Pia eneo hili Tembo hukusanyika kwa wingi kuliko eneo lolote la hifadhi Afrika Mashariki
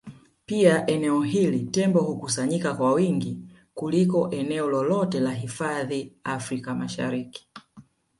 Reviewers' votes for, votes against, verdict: 2, 0, accepted